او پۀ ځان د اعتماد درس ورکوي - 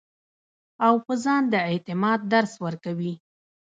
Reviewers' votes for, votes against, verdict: 1, 2, rejected